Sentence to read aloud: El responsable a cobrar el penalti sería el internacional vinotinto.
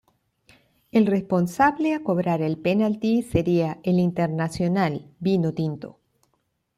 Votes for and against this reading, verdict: 2, 0, accepted